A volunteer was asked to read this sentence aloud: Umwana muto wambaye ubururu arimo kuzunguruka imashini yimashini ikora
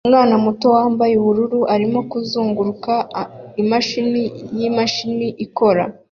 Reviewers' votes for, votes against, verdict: 0, 2, rejected